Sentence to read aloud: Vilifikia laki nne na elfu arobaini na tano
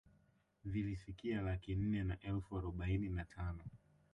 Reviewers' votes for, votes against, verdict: 1, 2, rejected